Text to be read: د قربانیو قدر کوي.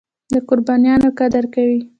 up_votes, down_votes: 0, 2